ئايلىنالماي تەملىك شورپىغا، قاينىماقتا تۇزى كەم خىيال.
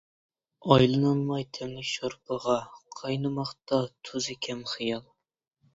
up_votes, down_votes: 2, 1